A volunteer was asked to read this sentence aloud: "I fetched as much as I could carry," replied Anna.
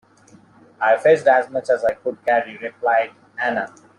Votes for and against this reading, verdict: 2, 0, accepted